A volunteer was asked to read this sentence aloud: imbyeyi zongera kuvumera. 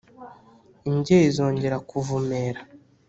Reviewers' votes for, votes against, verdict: 2, 0, accepted